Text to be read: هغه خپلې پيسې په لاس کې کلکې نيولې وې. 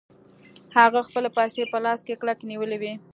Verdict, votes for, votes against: rejected, 0, 2